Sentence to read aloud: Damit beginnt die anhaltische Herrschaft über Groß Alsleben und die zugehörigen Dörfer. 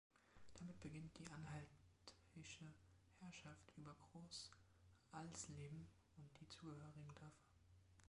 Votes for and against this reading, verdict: 1, 2, rejected